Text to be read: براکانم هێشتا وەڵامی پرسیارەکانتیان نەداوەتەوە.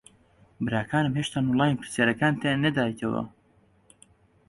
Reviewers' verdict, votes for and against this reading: accepted, 2, 1